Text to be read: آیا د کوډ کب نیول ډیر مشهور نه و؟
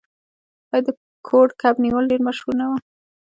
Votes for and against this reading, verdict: 1, 2, rejected